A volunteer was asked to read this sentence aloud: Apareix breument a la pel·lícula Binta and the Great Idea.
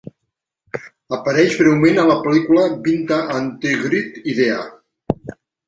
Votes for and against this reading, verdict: 1, 2, rejected